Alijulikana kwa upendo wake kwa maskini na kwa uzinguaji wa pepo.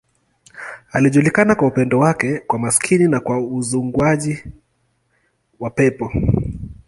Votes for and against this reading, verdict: 2, 0, accepted